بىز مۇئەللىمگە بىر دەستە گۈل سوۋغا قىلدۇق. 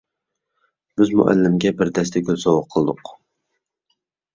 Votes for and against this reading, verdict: 2, 0, accepted